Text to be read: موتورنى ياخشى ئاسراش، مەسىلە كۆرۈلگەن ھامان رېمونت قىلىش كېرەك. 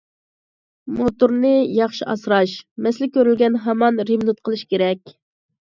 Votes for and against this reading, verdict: 2, 0, accepted